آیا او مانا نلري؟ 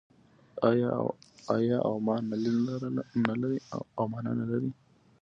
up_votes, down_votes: 2, 1